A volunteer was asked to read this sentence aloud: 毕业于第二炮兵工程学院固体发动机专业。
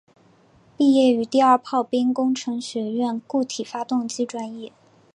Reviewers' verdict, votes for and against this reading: accepted, 4, 0